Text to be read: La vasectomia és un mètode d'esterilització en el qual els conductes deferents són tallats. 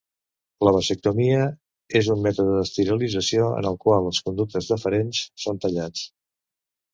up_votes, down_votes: 1, 2